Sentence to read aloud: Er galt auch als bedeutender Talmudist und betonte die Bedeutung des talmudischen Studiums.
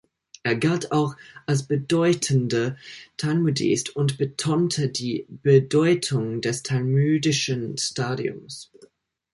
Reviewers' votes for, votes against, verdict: 0, 2, rejected